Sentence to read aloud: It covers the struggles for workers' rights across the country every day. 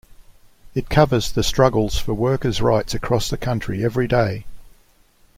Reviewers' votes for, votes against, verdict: 2, 0, accepted